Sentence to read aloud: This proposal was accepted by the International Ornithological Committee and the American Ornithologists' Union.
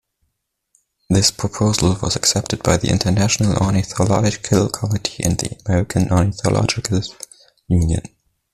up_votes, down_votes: 1, 2